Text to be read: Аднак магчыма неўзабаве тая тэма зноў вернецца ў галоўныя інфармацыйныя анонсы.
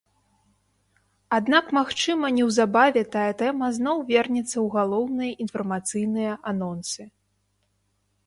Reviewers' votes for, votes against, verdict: 2, 0, accepted